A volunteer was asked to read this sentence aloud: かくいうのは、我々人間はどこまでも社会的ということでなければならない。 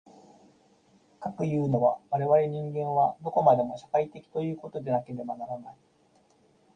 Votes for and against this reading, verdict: 0, 2, rejected